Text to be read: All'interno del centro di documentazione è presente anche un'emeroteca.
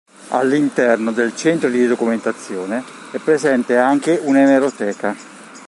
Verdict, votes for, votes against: accepted, 2, 0